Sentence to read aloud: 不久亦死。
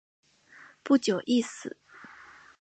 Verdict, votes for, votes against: accepted, 4, 0